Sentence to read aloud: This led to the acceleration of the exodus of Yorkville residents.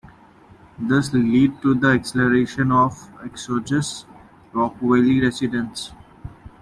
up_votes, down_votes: 0, 2